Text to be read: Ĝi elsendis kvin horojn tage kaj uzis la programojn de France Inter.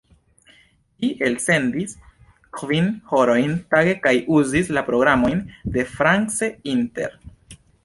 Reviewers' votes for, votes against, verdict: 0, 2, rejected